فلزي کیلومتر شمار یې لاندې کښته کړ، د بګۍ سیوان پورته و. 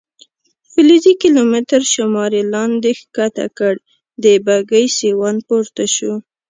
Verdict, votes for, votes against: accepted, 2, 0